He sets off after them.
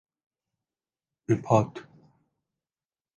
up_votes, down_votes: 1, 3